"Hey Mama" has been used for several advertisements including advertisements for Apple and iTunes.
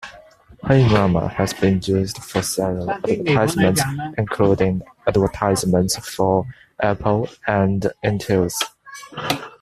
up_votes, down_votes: 0, 2